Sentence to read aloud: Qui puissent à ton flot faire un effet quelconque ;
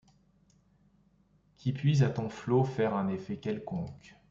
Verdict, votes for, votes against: rejected, 0, 2